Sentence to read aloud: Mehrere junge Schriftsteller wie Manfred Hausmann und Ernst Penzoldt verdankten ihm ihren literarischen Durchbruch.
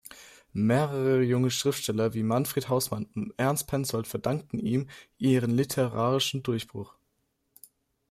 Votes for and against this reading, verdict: 2, 0, accepted